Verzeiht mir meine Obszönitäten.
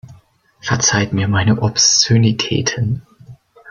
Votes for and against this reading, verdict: 1, 2, rejected